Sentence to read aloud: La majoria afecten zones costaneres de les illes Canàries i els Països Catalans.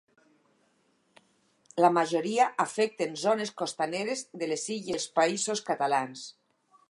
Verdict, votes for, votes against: rejected, 0, 4